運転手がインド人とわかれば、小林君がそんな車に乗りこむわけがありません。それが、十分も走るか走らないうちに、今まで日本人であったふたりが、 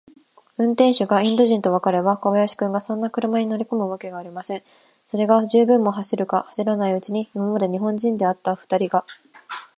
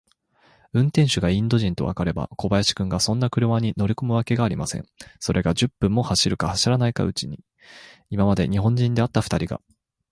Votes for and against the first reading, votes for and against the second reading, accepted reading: 2, 0, 3, 3, first